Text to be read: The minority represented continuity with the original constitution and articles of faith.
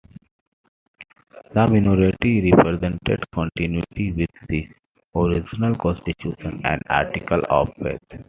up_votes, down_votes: 1, 2